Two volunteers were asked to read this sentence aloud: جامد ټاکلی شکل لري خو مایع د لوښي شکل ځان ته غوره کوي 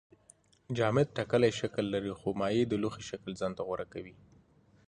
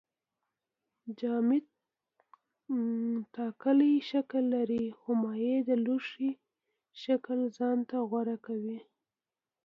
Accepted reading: first